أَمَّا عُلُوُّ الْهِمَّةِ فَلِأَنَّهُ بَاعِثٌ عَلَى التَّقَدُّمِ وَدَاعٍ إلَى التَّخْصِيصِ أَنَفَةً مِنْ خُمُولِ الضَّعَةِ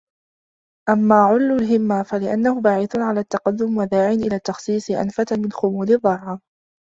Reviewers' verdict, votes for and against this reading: rejected, 0, 2